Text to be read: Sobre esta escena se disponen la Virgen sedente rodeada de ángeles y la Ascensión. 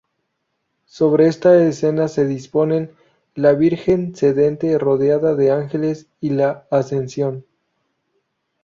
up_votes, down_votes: 2, 0